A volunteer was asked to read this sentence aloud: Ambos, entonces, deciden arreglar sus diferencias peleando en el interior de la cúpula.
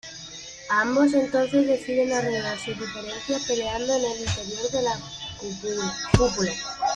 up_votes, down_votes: 1, 2